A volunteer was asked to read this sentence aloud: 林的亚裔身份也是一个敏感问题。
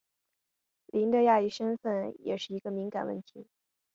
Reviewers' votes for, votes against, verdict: 2, 1, accepted